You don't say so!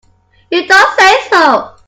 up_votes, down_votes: 2, 1